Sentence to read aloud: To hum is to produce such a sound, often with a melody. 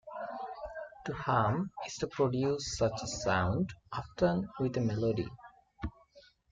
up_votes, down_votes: 0, 2